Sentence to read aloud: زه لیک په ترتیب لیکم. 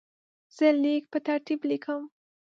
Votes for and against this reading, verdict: 2, 0, accepted